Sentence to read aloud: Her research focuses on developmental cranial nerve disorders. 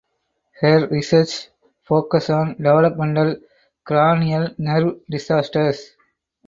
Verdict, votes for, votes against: rejected, 0, 4